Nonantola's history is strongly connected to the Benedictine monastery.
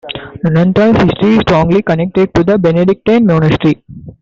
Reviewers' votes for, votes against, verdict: 0, 2, rejected